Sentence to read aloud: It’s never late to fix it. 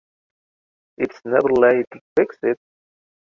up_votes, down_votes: 2, 0